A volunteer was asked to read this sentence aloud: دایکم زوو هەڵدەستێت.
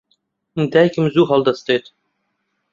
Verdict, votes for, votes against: accepted, 2, 0